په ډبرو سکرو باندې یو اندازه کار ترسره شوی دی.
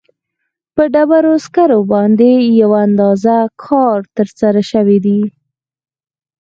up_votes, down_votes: 4, 0